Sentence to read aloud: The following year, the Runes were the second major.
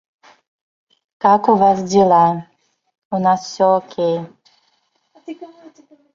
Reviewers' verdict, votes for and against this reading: rejected, 0, 3